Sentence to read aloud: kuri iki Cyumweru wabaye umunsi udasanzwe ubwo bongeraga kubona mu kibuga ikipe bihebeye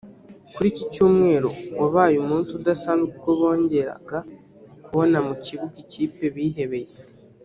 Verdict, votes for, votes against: rejected, 1, 2